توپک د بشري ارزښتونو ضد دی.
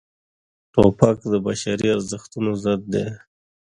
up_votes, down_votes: 2, 0